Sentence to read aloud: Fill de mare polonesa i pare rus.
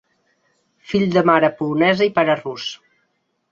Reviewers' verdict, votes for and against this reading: accepted, 2, 0